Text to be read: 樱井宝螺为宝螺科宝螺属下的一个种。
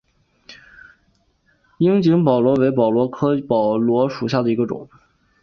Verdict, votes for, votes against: accepted, 3, 0